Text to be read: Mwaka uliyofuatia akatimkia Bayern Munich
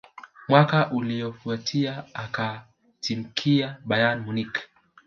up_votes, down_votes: 2, 0